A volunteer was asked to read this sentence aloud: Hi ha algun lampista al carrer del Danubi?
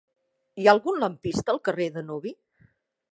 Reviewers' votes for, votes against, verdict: 0, 2, rejected